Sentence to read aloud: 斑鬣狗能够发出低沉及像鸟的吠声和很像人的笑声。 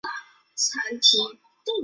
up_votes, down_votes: 0, 3